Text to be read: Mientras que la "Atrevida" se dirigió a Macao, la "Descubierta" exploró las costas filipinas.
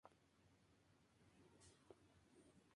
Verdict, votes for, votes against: rejected, 0, 2